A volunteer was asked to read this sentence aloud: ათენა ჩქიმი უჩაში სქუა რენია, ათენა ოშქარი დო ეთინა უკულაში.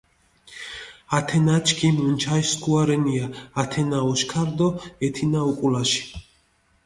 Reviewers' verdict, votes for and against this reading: accepted, 2, 1